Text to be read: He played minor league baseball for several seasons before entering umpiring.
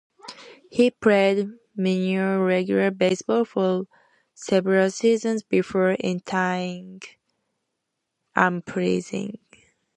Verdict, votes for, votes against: rejected, 1, 2